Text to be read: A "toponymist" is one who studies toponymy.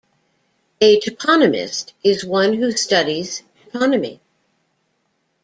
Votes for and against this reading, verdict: 2, 0, accepted